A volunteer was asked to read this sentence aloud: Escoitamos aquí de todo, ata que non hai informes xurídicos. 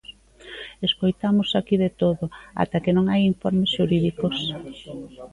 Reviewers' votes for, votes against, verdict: 0, 2, rejected